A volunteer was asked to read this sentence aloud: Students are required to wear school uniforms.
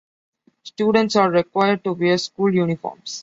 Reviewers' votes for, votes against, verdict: 2, 0, accepted